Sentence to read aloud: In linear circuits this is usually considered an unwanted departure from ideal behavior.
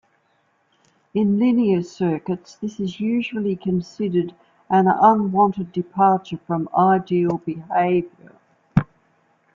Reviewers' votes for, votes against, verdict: 1, 3, rejected